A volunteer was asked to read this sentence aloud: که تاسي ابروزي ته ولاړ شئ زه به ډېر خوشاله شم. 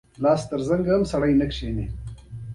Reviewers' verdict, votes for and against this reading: rejected, 0, 2